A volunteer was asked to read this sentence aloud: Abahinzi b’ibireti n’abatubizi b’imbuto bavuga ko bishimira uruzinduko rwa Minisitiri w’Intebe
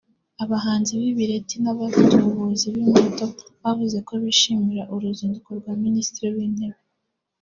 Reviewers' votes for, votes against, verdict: 1, 2, rejected